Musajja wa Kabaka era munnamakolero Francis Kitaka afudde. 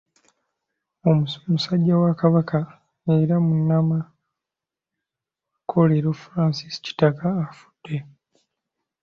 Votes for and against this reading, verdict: 0, 2, rejected